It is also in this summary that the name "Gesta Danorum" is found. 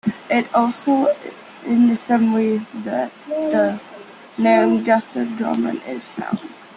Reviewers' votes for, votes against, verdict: 0, 2, rejected